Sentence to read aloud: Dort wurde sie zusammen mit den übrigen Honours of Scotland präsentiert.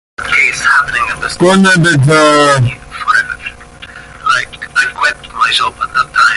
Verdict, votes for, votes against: rejected, 0, 2